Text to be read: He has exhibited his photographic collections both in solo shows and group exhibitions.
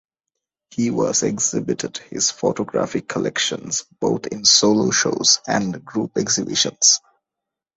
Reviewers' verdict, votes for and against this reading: rejected, 0, 2